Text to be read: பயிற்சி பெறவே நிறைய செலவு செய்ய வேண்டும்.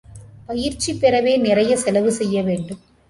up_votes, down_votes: 2, 0